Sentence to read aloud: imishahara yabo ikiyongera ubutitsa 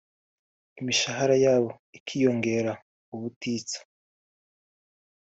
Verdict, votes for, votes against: rejected, 1, 2